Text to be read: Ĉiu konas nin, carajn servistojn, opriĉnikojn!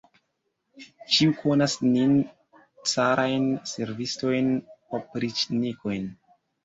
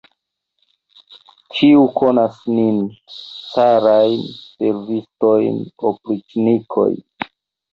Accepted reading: first